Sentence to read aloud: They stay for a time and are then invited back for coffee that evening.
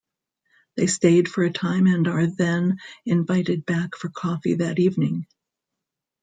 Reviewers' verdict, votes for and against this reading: rejected, 1, 2